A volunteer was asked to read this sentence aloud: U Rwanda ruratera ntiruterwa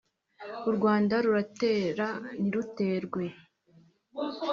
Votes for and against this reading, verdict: 1, 2, rejected